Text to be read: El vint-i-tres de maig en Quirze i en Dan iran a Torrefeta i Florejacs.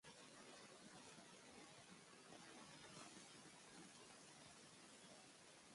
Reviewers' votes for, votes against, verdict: 1, 2, rejected